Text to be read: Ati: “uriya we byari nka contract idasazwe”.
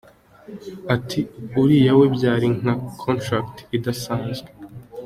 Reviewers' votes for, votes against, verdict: 2, 0, accepted